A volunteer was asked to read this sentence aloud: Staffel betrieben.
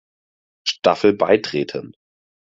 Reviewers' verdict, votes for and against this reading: rejected, 0, 4